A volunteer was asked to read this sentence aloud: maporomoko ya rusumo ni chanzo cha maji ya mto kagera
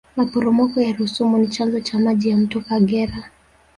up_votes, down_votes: 1, 2